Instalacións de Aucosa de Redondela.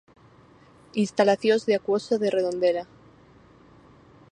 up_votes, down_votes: 0, 4